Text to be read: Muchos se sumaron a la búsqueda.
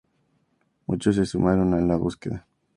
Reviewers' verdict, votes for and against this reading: accepted, 2, 0